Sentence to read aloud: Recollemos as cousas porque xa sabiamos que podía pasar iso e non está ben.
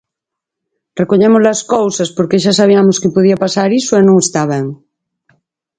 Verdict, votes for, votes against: accepted, 4, 0